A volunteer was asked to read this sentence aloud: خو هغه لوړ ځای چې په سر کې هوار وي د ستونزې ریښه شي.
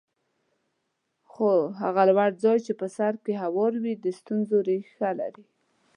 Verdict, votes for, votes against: rejected, 1, 2